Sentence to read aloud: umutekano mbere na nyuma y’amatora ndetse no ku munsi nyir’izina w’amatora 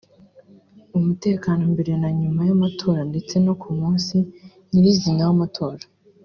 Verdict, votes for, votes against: accepted, 2, 0